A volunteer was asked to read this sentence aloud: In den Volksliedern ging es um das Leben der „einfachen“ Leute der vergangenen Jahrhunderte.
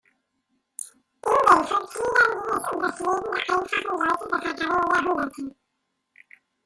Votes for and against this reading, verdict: 2, 3, rejected